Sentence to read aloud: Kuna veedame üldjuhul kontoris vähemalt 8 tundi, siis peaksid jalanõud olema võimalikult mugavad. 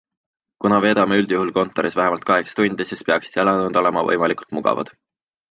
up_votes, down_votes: 0, 2